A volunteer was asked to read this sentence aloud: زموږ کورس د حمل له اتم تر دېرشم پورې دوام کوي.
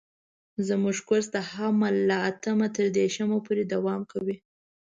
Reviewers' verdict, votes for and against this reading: accepted, 2, 0